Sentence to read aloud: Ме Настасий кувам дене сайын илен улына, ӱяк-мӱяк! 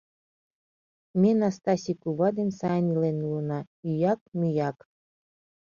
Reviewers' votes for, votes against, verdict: 0, 2, rejected